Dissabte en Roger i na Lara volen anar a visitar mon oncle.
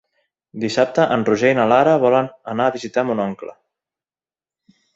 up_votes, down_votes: 3, 0